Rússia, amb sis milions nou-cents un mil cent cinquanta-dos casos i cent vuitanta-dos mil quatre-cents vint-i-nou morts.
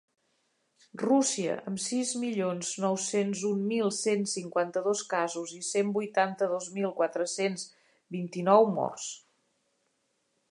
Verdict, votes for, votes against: accepted, 2, 0